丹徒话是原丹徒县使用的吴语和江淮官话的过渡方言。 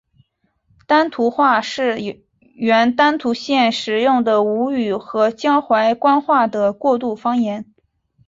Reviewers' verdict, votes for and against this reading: accepted, 6, 0